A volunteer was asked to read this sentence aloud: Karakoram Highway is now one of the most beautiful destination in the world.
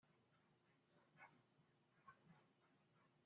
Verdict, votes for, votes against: rejected, 0, 2